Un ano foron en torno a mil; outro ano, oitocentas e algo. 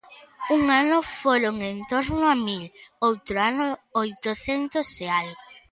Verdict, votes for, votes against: accepted, 2, 1